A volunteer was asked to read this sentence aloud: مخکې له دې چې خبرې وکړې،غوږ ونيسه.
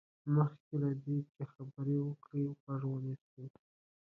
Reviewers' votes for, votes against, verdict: 1, 2, rejected